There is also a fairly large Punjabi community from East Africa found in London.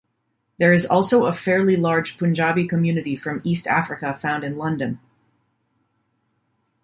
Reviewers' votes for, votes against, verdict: 2, 0, accepted